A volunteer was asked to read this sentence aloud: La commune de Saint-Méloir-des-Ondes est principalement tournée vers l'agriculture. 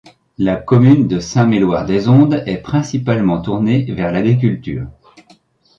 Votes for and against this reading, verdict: 3, 1, accepted